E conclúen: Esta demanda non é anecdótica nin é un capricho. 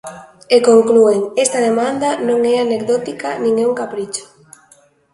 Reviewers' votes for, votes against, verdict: 2, 0, accepted